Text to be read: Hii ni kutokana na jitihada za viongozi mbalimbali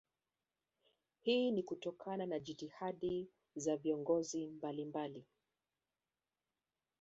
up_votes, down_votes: 0, 2